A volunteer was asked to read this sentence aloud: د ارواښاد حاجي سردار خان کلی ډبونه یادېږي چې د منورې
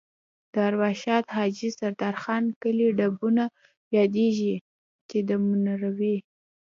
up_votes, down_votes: 2, 1